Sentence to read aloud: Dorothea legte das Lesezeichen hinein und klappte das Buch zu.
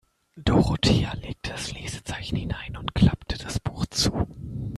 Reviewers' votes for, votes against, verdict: 1, 2, rejected